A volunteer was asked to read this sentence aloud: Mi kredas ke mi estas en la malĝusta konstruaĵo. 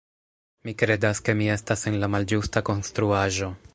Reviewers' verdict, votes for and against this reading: accepted, 2, 1